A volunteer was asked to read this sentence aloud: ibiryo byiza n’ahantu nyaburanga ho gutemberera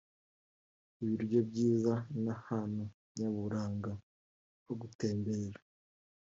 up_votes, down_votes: 2, 1